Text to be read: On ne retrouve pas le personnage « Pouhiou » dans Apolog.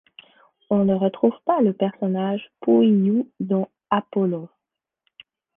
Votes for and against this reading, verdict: 1, 2, rejected